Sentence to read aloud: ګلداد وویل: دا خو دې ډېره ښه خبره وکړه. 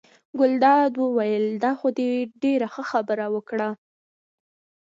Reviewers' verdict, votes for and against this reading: rejected, 1, 2